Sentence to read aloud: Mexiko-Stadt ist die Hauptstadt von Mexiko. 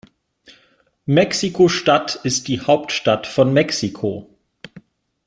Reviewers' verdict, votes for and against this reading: accepted, 4, 0